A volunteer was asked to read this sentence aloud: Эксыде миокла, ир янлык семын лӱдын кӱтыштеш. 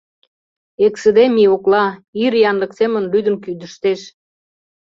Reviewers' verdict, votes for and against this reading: rejected, 1, 2